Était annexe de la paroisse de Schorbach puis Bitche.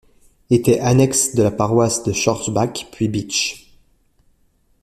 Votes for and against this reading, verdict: 2, 0, accepted